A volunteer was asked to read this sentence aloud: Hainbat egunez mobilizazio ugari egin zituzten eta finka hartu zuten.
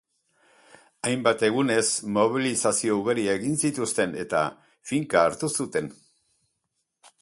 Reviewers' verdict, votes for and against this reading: accepted, 2, 0